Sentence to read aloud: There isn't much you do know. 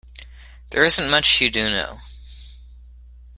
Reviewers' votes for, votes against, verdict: 2, 1, accepted